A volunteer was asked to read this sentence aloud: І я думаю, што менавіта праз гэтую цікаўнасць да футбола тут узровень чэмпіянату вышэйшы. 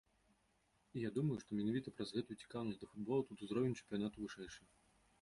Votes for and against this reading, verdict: 0, 2, rejected